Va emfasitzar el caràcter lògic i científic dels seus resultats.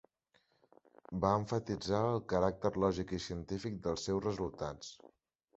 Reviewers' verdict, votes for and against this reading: rejected, 0, 2